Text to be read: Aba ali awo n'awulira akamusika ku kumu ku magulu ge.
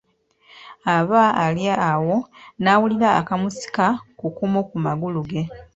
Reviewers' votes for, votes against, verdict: 2, 0, accepted